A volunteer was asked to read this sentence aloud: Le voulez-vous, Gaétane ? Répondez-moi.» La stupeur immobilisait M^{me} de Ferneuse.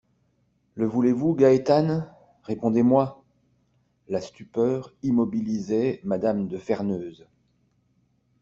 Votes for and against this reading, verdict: 2, 0, accepted